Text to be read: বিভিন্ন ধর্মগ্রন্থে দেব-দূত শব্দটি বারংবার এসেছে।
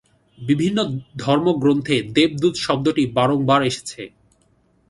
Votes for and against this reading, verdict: 2, 0, accepted